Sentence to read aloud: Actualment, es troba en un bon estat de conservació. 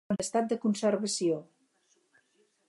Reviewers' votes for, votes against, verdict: 0, 4, rejected